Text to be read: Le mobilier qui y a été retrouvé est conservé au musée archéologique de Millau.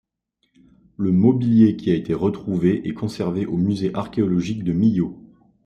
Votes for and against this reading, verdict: 2, 1, accepted